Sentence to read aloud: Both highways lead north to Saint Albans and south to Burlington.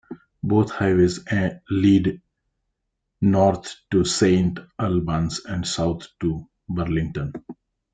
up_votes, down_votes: 1, 2